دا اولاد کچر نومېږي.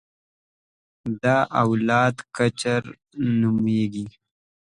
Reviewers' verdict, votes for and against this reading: accepted, 2, 0